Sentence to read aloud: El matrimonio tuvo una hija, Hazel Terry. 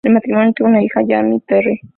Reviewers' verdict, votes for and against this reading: rejected, 1, 3